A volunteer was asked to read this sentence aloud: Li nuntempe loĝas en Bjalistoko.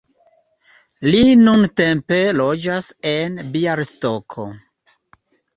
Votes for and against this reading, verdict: 1, 2, rejected